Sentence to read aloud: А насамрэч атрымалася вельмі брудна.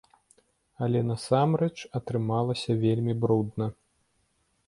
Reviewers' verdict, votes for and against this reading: rejected, 0, 2